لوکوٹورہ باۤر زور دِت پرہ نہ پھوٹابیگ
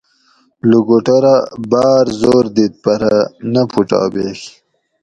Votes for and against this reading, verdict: 2, 0, accepted